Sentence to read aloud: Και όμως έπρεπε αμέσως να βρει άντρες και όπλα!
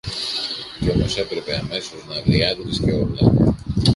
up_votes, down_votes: 0, 2